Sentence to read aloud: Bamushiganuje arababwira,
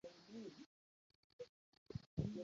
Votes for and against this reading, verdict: 0, 2, rejected